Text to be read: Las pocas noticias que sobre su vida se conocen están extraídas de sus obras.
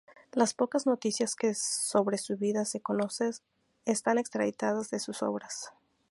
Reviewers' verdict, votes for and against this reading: rejected, 2, 2